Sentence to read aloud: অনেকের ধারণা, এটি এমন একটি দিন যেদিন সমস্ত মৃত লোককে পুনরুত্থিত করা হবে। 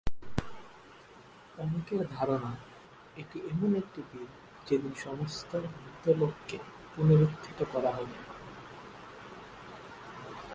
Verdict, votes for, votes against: rejected, 3, 9